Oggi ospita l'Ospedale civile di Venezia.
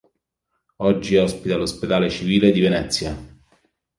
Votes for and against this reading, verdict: 2, 0, accepted